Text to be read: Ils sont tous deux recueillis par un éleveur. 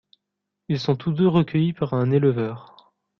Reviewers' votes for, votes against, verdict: 2, 0, accepted